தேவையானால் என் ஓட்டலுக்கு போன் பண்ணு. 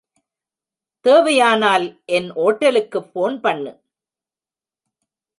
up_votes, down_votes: 1, 2